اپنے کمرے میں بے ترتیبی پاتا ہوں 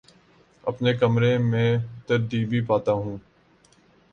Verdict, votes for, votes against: rejected, 1, 2